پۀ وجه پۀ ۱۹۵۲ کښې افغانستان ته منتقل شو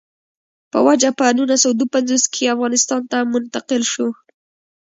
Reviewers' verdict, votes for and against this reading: rejected, 0, 2